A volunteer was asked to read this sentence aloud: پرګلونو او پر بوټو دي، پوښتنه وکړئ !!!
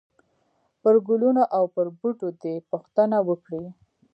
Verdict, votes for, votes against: accepted, 2, 0